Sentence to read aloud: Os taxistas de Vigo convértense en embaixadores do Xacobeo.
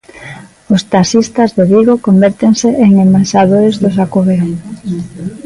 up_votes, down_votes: 2, 0